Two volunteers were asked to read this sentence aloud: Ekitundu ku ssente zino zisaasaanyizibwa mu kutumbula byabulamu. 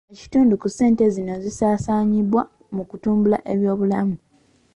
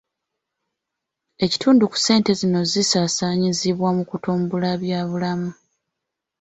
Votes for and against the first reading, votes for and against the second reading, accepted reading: 1, 2, 2, 0, second